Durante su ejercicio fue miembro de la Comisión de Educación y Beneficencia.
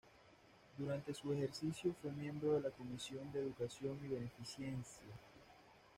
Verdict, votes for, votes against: rejected, 0, 2